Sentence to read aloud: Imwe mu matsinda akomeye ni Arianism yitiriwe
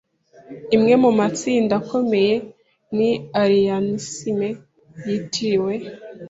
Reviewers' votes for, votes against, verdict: 2, 0, accepted